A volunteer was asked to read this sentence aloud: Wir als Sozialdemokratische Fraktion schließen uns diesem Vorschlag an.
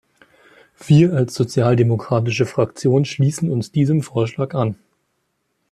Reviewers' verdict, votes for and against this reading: accepted, 2, 0